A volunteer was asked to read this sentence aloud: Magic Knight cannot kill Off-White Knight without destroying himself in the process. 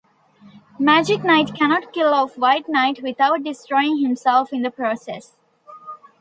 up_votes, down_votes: 3, 0